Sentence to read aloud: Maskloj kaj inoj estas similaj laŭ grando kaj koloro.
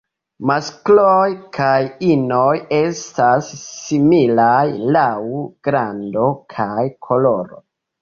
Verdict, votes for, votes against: rejected, 1, 2